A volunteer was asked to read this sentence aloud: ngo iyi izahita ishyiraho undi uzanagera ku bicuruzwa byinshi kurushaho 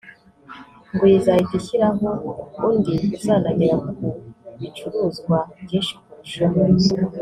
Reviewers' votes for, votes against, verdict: 1, 2, rejected